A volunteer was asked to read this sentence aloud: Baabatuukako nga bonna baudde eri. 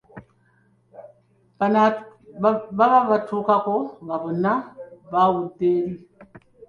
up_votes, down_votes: 3, 5